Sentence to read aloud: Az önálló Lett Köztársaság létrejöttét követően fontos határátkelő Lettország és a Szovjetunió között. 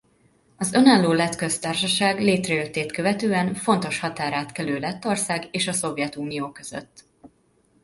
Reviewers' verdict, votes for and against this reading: accepted, 2, 0